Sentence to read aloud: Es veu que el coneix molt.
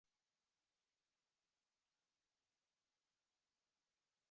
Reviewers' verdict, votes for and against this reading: rejected, 0, 3